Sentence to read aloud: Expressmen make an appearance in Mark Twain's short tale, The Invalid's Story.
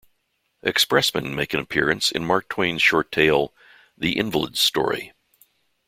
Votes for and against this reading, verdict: 2, 0, accepted